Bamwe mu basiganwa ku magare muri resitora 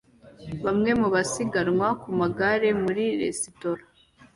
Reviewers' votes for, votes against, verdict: 2, 0, accepted